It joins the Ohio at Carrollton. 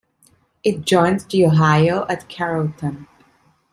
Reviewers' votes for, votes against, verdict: 3, 0, accepted